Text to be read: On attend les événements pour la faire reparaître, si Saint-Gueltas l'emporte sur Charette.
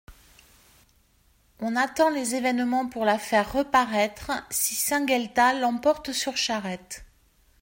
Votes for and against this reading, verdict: 2, 0, accepted